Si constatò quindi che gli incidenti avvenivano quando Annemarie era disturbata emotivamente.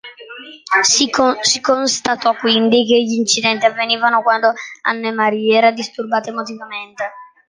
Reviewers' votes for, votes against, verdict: 0, 2, rejected